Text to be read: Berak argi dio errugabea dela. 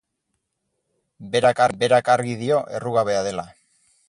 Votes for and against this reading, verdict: 2, 6, rejected